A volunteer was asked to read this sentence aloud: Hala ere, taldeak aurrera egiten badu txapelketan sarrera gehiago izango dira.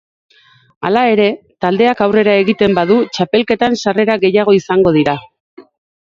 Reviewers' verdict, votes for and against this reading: rejected, 2, 2